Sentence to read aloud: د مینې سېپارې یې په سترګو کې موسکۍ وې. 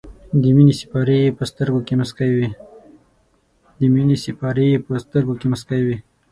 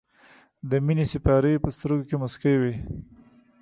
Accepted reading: second